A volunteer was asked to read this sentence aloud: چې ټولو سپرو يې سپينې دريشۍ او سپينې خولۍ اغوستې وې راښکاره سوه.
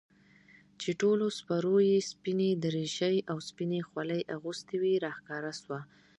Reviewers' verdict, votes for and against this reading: rejected, 1, 2